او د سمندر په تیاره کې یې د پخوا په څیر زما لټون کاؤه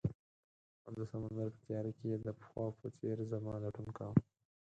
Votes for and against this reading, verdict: 0, 4, rejected